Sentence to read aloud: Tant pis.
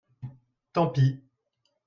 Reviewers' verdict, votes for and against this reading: accepted, 2, 0